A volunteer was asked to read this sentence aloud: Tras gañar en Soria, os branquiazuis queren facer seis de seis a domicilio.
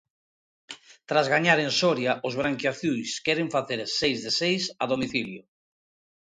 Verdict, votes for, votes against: accepted, 2, 0